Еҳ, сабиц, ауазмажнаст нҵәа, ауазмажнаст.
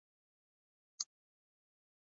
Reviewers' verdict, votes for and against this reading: rejected, 0, 2